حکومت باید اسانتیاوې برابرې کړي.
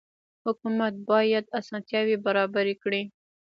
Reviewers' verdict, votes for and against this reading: rejected, 1, 2